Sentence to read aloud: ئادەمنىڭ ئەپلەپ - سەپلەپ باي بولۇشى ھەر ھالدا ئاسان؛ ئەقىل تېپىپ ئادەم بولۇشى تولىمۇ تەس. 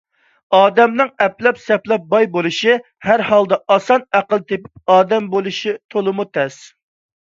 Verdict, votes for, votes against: accepted, 2, 0